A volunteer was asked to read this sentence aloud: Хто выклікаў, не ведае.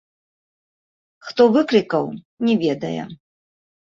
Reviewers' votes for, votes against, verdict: 0, 2, rejected